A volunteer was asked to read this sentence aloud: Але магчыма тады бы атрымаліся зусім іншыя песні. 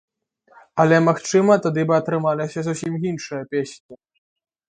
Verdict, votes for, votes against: accepted, 3, 0